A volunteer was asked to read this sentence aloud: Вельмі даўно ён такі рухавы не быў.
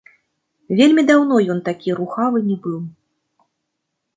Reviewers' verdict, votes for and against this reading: accepted, 2, 0